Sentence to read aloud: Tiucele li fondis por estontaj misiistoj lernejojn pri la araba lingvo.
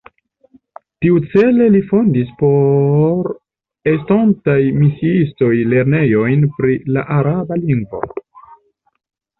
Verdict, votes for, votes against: accepted, 2, 0